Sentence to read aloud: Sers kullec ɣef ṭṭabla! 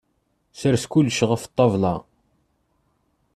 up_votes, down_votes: 2, 0